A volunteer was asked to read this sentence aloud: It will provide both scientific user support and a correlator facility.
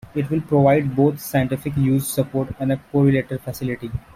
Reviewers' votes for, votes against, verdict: 1, 2, rejected